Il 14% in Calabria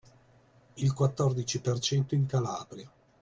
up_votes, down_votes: 0, 2